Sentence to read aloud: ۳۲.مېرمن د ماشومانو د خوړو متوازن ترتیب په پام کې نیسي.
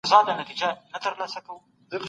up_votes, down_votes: 0, 2